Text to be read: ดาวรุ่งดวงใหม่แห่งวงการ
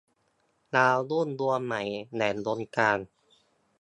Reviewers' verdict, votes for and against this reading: accepted, 2, 0